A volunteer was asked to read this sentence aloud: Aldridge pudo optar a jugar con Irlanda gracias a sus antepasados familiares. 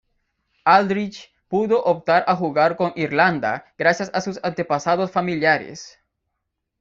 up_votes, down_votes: 2, 1